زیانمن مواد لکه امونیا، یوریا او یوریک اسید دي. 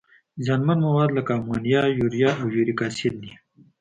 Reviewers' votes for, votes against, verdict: 3, 0, accepted